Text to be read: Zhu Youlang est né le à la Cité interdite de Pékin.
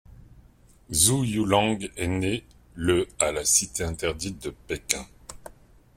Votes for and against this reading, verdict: 2, 0, accepted